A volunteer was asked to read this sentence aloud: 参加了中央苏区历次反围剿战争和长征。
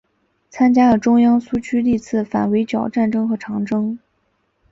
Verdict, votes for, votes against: accepted, 2, 0